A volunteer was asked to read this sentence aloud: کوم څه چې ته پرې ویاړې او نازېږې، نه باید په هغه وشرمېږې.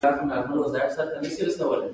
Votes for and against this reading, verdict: 3, 2, accepted